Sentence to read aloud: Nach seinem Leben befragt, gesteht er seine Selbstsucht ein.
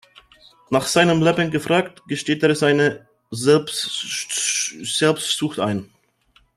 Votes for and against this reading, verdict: 0, 2, rejected